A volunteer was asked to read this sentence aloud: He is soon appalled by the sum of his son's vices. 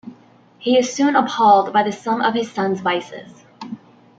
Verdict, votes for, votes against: rejected, 0, 2